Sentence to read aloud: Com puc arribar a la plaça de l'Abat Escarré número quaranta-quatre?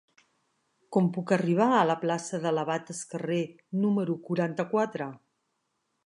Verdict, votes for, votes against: accepted, 2, 0